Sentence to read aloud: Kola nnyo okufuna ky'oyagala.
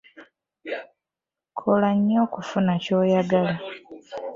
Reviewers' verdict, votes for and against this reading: rejected, 1, 2